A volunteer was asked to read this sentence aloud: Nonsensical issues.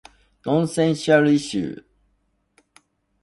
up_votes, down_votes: 0, 2